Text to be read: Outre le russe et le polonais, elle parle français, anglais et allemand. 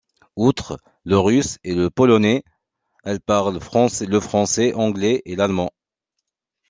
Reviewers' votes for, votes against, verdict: 1, 2, rejected